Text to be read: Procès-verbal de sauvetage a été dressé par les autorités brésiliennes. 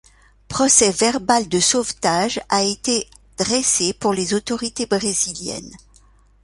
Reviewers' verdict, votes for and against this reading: rejected, 1, 2